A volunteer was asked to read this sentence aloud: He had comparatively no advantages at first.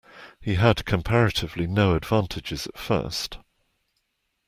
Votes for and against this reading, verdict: 2, 0, accepted